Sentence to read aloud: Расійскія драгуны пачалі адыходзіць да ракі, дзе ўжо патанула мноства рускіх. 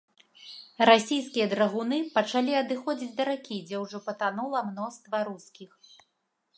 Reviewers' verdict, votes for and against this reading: accepted, 2, 0